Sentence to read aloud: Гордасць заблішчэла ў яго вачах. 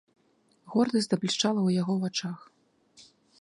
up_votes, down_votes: 0, 3